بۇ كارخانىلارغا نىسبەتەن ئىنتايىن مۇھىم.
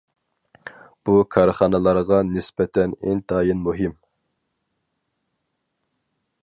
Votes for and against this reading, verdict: 4, 0, accepted